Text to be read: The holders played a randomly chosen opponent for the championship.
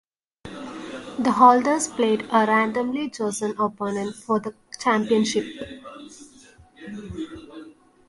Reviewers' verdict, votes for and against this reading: accepted, 2, 0